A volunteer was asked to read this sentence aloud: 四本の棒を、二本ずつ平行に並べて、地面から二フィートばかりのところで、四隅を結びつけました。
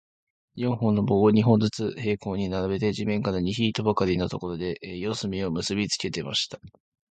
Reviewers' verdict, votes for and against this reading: accepted, 12, 4